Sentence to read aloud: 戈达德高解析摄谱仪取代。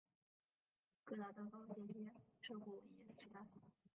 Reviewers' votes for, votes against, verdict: 0, 3, rejected